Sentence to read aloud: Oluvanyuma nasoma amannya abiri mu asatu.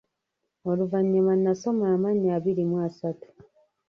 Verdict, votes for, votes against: rejected, 1, 2